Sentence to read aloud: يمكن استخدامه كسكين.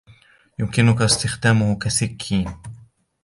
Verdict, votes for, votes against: accepted, 2, 0